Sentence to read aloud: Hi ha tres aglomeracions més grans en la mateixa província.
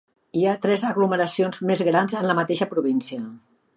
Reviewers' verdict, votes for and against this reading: accepted, 3, 0